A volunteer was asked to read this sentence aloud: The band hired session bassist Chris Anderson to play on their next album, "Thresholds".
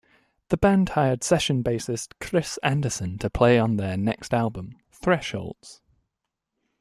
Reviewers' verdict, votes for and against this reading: accepted, 2, 0